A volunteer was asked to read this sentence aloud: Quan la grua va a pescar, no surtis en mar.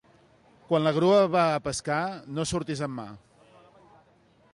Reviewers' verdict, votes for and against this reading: accepted, 2, 0